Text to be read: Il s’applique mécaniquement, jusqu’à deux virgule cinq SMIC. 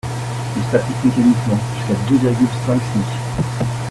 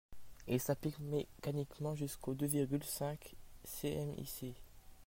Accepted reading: first